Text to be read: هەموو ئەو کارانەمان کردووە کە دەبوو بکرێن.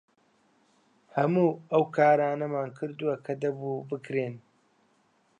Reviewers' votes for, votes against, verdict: 3, 1, accepted